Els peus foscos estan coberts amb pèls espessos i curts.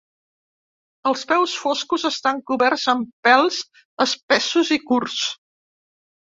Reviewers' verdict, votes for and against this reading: accepted, 2, 0